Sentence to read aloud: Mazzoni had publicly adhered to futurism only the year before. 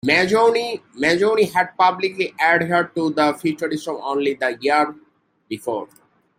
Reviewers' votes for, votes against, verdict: 0, 2, rejected